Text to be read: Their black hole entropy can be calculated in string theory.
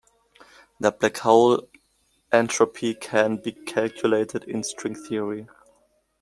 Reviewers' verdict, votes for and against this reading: rejected, 0, 2